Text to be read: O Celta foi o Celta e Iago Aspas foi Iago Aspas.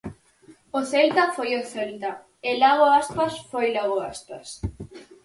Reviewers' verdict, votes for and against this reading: rejected, 0, 4